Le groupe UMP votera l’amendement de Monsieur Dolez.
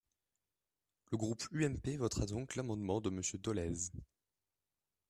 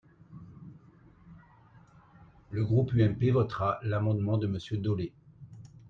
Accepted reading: second